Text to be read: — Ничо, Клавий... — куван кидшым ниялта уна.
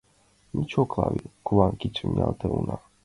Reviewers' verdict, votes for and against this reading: accepted, 2, 0